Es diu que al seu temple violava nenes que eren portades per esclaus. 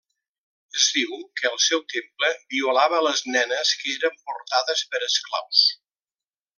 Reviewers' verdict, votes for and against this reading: rejected, 0, 2